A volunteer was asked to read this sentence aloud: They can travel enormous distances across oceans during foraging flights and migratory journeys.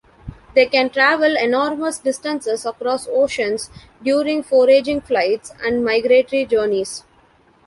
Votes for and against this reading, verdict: 2, 0, accepted